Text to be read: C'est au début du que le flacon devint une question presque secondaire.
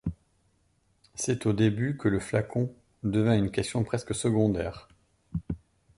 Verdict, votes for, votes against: rejected, 1, 2